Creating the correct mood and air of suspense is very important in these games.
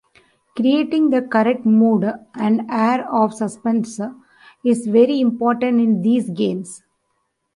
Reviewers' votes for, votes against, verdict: 1, 2, rejected